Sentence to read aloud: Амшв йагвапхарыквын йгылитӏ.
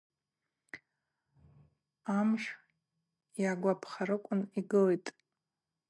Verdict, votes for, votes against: accepted, 2, 0